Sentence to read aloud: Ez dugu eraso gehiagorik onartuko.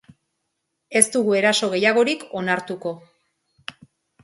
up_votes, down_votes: 3, 0